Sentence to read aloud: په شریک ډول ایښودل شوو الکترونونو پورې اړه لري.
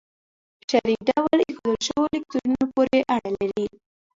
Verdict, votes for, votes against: rejected, 1, 2